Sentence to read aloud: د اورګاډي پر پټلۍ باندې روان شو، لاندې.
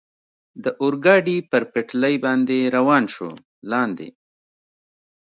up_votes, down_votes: 2, 0